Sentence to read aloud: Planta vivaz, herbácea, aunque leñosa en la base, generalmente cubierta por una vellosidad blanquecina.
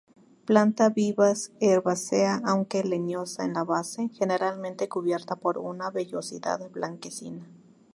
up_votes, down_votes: 0, 2